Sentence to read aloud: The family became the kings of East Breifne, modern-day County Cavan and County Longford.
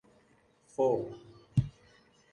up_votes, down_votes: 0, 2